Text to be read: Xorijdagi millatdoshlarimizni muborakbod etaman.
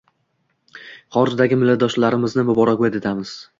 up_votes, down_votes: 0, 2